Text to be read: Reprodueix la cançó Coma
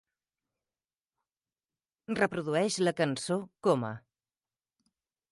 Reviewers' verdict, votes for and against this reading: accepted, 3, 0